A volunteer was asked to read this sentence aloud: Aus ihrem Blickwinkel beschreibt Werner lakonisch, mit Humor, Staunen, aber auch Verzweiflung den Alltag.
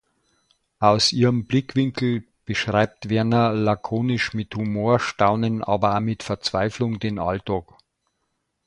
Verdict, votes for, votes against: rejected, 1, 2